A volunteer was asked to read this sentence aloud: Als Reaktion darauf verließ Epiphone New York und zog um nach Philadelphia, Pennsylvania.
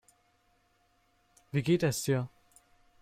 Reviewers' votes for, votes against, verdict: 0, 2, rejected